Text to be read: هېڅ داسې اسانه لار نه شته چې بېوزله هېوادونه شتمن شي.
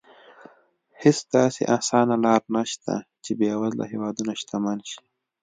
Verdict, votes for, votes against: accepted, 2, 0